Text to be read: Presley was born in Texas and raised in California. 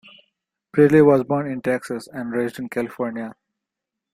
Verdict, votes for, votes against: rejected, 1, 2